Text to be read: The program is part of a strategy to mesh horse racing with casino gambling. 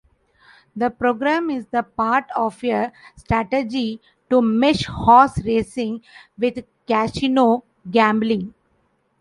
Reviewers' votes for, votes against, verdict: 1, 2, rejected